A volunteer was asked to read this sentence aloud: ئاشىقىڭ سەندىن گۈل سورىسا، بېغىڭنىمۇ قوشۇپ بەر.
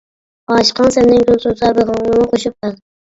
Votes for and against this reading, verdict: 0, 2, rejected